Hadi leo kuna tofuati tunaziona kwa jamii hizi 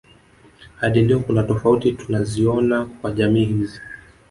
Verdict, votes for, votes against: rejected, 1, 2